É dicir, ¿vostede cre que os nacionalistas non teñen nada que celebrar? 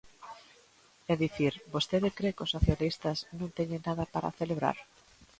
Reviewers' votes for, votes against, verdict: 0, 2, rejected